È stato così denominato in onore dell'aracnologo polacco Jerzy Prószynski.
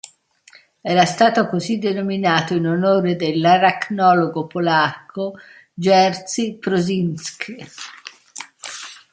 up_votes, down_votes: 0, 2